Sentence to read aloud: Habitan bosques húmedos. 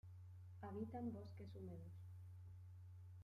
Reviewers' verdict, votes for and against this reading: rejected, 1, 2